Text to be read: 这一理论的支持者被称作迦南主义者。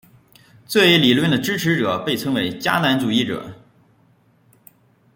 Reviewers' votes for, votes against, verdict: 2, 3, rejected